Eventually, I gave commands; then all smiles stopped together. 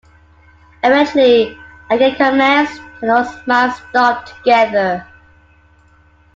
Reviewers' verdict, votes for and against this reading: rejected, 1, 2